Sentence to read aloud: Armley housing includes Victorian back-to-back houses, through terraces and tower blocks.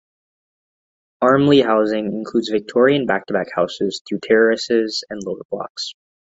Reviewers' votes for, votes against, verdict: 0, 3, rejected